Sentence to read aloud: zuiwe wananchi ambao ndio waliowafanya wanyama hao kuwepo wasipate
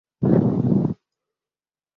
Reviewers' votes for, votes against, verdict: 0, 2, rejected